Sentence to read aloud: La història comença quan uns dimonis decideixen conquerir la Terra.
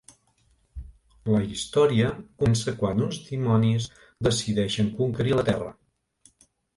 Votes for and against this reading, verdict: 1, 2, rejected